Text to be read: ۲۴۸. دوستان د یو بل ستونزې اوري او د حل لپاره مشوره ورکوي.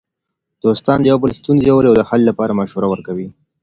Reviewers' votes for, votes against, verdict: 0, 2, rejected